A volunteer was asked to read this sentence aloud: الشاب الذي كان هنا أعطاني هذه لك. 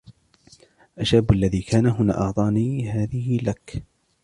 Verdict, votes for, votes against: rejected, 1, 2